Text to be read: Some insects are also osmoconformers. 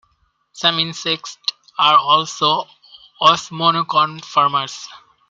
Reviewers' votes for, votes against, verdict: 0, 2, rejected